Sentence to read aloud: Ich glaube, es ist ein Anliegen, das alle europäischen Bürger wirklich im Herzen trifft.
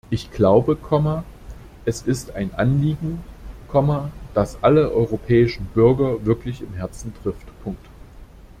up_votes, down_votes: 1, 2